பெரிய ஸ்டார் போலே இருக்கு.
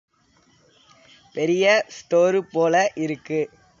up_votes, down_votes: 1, 2